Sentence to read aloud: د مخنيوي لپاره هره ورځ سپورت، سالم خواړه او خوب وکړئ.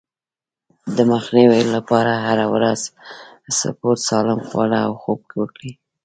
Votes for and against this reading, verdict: 1, 2, rejected